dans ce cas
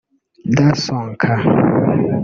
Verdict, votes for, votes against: rejected, 0, 2